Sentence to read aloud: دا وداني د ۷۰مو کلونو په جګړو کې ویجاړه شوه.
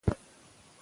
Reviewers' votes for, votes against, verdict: 0, 2, rejected